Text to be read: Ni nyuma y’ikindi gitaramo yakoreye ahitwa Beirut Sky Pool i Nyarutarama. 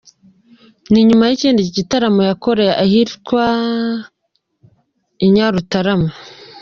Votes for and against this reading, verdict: 0, 2, rejected